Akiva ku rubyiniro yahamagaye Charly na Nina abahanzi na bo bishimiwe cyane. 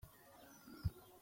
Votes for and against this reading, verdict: 0, 2, rejected